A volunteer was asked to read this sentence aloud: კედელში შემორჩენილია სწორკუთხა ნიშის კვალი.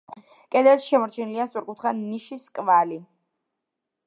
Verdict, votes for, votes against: accepted, 2, 0